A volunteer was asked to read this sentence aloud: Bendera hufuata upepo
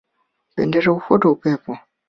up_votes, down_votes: 2, 0